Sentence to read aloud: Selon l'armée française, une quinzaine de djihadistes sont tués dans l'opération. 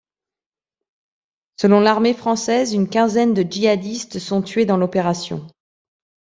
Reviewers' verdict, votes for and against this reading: accepted, 2, 0